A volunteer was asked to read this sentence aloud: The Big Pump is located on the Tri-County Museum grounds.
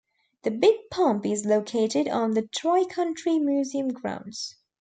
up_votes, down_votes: 0, 2